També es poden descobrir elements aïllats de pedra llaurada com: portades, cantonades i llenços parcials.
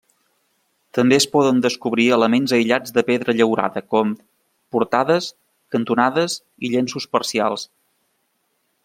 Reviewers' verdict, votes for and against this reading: accepted, 3, 0